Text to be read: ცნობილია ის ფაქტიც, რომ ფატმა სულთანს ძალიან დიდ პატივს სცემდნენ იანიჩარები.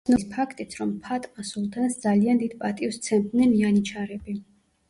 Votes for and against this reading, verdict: 1, 2, rejected